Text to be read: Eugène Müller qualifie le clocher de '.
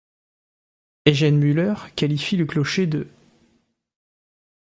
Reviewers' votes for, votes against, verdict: 1, 2, rejected